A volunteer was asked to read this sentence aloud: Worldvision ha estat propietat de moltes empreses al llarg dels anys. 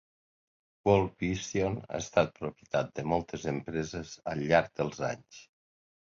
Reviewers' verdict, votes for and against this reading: accepted, 2, 0